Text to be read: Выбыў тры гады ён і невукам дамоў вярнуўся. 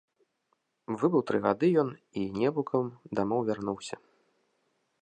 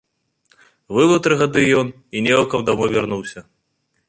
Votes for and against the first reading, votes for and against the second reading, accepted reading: 2, 0, 1, 2, first